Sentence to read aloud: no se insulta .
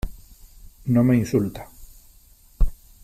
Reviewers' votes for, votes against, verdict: 0, 3, rejected